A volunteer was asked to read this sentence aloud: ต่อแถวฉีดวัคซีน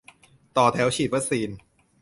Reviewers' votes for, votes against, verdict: 2, 0, accepted